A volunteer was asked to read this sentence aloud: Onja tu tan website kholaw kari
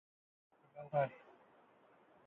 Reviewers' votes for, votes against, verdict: 1, 2, rejected